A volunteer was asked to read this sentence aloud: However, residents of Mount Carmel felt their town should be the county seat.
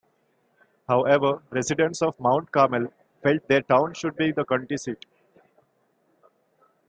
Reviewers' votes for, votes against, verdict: 3, 0, accepted